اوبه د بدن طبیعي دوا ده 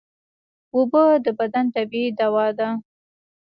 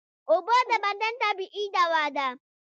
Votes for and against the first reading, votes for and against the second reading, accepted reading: 2, 0, 1, 2, first